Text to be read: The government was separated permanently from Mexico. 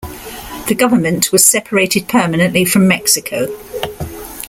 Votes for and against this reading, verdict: 2, 0, accepted